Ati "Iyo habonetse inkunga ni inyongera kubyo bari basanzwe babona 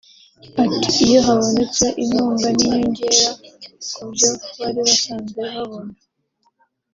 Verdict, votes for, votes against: accepted, 3, 0